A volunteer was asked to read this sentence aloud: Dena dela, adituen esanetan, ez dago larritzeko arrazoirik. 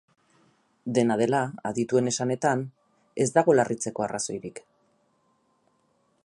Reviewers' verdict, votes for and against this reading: rejected, 0, 2